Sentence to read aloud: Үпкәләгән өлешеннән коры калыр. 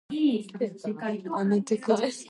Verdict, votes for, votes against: rejected, 0, 2